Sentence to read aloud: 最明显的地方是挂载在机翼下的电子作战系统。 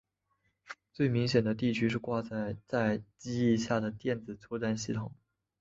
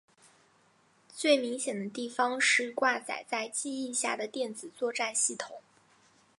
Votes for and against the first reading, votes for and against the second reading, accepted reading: 5, 3, 0, 2, first